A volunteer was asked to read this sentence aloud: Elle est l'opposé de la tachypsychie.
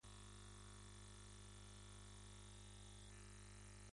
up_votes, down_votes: 0, 2